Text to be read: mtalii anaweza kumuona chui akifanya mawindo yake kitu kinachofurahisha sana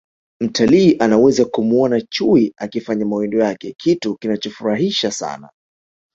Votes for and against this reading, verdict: 2, 0, accepted